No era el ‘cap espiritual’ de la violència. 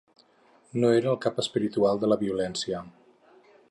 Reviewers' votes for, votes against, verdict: 4, 0, accepted